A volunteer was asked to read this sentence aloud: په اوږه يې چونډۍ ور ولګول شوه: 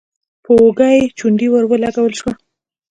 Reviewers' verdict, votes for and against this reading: accepted, 2, 0